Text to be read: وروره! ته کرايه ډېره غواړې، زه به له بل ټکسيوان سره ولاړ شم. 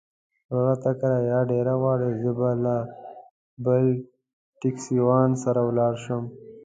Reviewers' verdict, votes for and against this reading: rejected, 0, 2